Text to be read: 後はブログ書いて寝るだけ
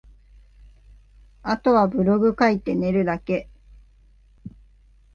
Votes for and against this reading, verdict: 3, 0, accepted